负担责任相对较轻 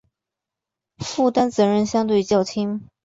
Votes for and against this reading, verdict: 4, 0, accepted